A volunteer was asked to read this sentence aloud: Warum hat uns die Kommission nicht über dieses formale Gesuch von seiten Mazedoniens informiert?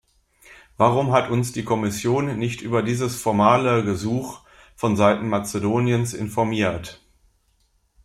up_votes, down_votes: 2, 0